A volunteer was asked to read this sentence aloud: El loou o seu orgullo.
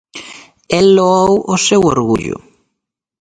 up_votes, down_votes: 2, 2